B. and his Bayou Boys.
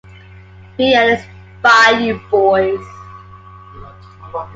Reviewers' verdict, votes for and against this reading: accepted, 2, 0